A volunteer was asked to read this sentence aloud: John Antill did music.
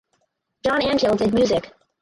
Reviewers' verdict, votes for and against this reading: rejected, 2, 4